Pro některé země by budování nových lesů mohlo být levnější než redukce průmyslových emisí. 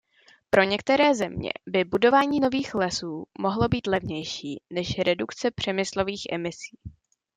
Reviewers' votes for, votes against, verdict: 0, 2, rejected